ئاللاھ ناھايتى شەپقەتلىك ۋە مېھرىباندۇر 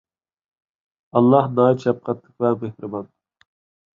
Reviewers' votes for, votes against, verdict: 1, 2, rejected